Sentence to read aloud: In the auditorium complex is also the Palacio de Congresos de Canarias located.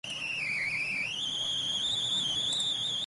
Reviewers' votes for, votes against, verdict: 0, 4, rejected